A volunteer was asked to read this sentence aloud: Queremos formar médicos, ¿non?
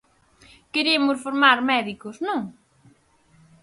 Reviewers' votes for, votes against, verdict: 4, 0, accepted